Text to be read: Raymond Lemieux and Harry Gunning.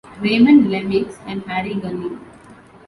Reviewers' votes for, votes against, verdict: 2, 1, accepted